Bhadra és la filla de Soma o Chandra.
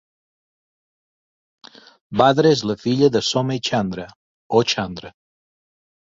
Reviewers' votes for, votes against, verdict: 1, 2, rejected